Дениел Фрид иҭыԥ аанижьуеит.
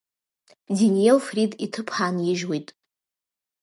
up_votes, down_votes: 2, 0